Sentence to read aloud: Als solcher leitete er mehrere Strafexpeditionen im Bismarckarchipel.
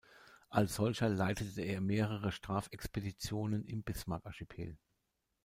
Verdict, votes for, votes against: rejected, 1, 2